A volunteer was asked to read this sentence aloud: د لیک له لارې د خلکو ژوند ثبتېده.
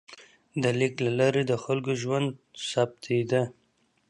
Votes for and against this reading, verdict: 2, 0, accepted